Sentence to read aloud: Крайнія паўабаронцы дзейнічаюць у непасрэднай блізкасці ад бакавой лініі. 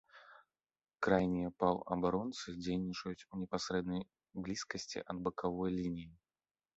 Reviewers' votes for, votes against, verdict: 2, 0, accepted